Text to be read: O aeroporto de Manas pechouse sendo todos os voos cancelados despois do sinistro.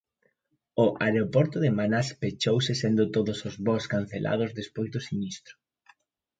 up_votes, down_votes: 1, 2